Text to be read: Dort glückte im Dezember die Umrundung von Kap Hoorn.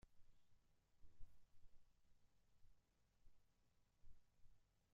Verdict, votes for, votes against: rejected, 0, 2